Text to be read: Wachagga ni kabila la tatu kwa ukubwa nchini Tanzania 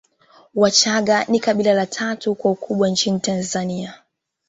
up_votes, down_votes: 2, 1